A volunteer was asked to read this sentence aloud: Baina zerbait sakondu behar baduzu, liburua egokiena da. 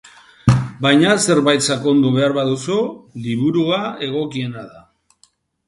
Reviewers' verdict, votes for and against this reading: accepted, 2, 0